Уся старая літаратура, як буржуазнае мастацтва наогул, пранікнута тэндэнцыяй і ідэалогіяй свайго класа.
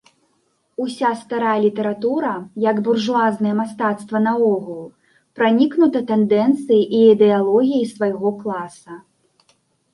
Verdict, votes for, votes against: accepted, 2, 0